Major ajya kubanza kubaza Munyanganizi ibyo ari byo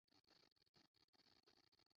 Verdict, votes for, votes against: rejected, 0, 2